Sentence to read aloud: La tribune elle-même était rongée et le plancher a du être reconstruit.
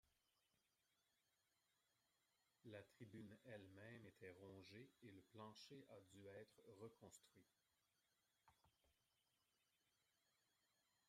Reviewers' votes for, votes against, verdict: 1, 2, rejected